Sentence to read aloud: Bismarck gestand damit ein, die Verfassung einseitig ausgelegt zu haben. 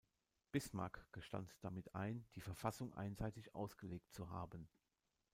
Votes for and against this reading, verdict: 1, 2, rejected